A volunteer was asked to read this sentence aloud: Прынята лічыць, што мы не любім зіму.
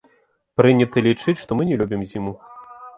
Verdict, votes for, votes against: accepted, 2, 0